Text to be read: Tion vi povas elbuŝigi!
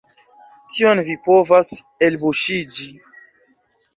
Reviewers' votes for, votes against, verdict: 0, 2, rejected